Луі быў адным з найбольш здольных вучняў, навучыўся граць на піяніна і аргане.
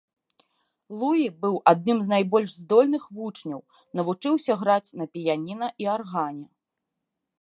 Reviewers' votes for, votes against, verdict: 1, 2, rejected